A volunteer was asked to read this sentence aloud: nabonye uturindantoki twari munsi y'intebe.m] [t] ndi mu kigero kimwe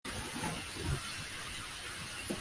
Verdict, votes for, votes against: rejected, 0, 2